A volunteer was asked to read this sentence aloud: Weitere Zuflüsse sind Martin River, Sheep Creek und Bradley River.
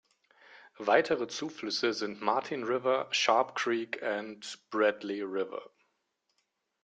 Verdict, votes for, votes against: rejected, 0, 3